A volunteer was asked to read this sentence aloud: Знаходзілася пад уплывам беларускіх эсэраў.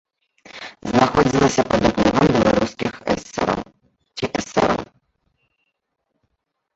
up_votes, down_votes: 0, 2